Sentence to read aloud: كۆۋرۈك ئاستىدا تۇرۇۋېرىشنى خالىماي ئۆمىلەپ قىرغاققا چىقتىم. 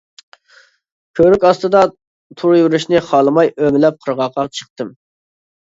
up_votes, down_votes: 2, 0